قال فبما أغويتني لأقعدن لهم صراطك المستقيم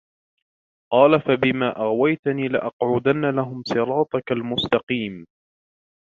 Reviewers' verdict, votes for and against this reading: rejected, 0, 2